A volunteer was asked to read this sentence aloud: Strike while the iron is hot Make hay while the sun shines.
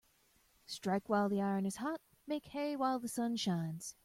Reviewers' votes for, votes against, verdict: 2, 0, accepted